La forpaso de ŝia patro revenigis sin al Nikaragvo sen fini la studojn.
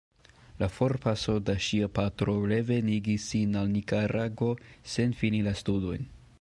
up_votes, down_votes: 0, 2